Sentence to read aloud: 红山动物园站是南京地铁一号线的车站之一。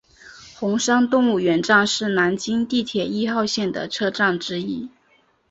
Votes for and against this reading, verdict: 3, 0, accepted